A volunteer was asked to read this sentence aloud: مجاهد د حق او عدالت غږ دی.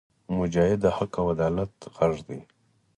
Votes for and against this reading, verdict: 4, 0, accepted